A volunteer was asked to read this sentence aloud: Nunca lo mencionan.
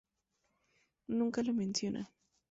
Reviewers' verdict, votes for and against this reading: accepted, 2, 0